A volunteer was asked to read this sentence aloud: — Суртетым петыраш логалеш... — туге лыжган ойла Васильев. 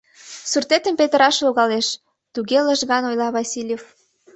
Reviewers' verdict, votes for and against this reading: accepted, 2, 0